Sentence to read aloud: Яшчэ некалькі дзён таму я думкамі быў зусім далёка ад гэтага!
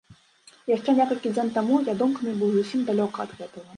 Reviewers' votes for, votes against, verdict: 2, 0, accepted